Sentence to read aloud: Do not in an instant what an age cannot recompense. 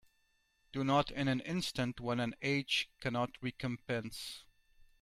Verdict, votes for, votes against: rejected, 1, 2